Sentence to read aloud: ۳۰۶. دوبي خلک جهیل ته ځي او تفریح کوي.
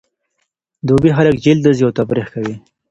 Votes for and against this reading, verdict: 0, 2, rejected